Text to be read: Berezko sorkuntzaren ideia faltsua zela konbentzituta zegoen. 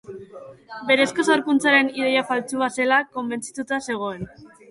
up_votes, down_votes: 2, 1